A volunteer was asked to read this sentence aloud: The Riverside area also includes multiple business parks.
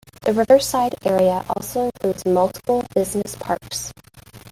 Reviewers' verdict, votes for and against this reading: rejected, 1, 3